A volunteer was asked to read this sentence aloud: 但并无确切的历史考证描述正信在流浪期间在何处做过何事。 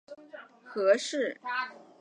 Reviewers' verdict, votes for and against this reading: accepted, 4, 3